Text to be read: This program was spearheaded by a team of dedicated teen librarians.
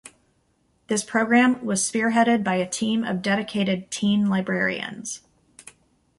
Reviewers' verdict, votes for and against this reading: accepted, 2, 0